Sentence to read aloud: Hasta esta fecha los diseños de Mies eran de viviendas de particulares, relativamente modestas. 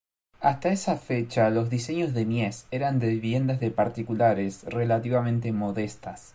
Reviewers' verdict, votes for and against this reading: rejected, 0, 2